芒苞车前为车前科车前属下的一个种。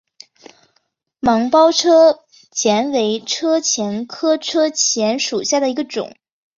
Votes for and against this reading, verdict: 2, 0, accepted